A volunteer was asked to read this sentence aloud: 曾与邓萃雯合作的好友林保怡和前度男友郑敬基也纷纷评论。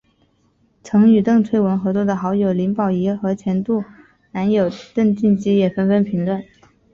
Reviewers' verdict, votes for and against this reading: accepted, 4, 1